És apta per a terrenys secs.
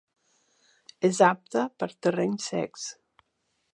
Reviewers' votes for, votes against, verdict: 1, 2, rejected